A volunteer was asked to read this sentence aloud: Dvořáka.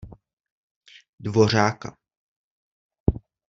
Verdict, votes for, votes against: accepted, 2, 0